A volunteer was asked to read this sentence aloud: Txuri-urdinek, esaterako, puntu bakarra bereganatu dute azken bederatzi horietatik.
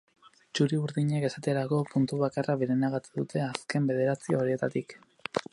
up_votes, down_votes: 2, 4